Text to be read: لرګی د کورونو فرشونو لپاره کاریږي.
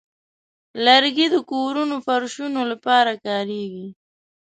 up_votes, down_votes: 0, 2